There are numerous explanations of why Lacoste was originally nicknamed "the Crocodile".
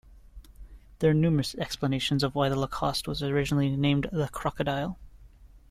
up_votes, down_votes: 0, 2